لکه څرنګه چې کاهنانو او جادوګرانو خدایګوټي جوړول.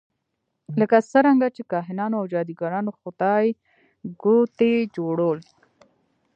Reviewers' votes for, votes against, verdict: 1, 2, rejected